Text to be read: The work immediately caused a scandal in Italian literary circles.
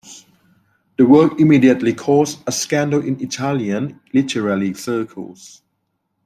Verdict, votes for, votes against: accepted, 2, 0